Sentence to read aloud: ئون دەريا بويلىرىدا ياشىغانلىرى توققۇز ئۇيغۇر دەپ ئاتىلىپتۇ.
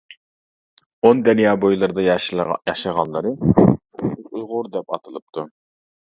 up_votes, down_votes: 0, 2